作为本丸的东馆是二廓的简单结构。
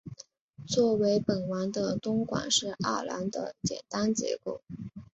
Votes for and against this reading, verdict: 4, 0, accepted